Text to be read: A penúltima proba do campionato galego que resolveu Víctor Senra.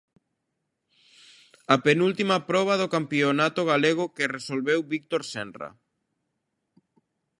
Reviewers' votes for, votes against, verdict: 2, 0, accepted